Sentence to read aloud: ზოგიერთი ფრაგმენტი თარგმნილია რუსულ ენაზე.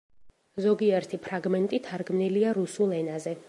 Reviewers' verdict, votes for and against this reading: accepted, 2, 0